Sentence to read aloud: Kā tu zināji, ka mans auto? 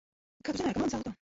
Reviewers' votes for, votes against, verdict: 1, 2, rejected